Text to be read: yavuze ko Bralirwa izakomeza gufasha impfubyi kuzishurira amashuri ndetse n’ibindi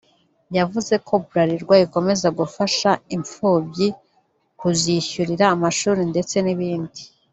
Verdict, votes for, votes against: rejected, 1, 3